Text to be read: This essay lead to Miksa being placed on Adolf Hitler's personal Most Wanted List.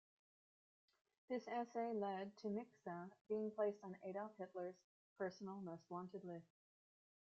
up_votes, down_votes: 0, 2